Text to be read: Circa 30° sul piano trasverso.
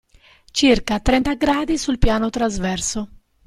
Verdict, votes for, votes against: rejected, 0, 2